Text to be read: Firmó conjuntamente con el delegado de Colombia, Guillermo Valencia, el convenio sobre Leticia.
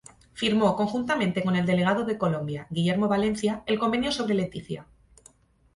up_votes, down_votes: 2, 0